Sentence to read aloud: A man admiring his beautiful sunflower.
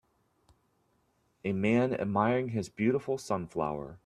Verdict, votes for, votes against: accepted, 2, 1